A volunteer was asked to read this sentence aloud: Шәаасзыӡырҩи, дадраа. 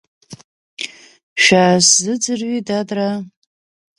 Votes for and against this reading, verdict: 2, 0, accepted